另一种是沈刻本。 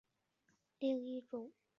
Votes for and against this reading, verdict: 1, 4, rejected